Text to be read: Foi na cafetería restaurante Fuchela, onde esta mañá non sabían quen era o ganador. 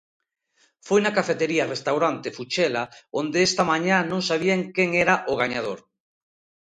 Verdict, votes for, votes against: rejected, 1, 2